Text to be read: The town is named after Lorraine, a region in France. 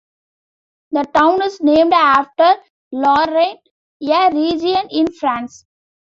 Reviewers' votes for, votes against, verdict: 0, 2, rejected